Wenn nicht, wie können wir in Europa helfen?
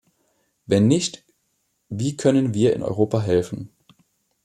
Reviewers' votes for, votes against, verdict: 2, 0, accepted